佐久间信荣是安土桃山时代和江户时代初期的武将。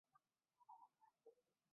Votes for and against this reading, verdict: 2, 0, accepted